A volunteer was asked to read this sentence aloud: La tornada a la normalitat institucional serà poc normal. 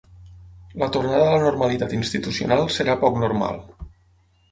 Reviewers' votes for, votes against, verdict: 9, 0, accepted